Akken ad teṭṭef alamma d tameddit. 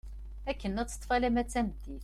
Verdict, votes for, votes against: accepted, 2, 0